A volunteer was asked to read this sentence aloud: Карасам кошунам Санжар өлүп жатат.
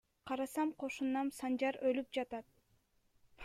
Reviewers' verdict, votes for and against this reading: rejected, 1, 2